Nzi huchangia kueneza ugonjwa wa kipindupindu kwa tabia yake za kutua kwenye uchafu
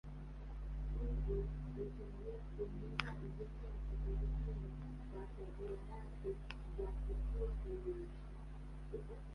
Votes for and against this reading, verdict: 1, 2, rejected